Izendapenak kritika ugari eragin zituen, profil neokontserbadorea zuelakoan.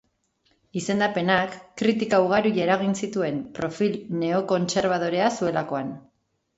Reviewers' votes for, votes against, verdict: 1, 2, rejected